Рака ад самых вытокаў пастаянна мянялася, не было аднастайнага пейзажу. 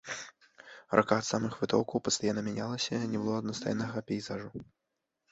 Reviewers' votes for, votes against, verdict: 2, 1, accepted